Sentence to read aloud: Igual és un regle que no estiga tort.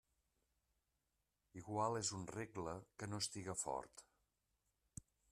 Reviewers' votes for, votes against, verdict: 0, 2, rejected